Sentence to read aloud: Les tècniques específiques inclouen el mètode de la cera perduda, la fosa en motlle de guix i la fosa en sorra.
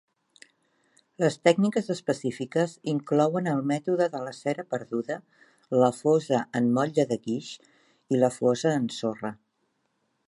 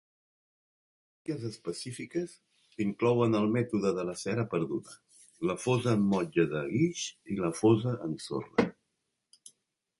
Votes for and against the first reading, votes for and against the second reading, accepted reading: 2, 0, 1, 3, first